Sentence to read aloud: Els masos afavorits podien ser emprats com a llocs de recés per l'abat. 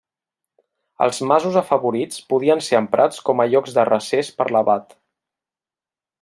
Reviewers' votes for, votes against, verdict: 3, 0, accepted